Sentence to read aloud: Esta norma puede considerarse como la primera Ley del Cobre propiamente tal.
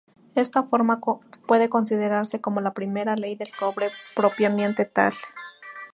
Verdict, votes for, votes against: rejected, 0, 2